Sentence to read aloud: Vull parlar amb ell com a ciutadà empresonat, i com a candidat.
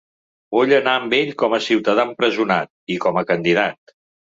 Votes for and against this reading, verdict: 0, 2, rejected